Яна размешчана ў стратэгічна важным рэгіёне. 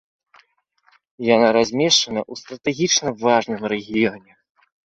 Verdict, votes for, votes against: rejected, 0, 2